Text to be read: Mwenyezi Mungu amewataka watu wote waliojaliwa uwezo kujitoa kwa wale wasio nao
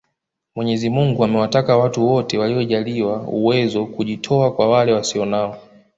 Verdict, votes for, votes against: rejected, 1, 2